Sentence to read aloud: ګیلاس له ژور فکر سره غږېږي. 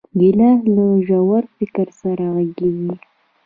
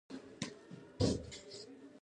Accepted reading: first